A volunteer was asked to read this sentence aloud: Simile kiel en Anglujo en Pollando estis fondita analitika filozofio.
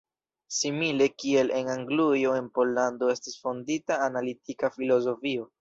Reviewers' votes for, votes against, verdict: 2, 0, accepted